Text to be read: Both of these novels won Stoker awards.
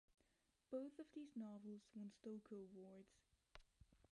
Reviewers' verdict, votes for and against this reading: rejected, 1, 2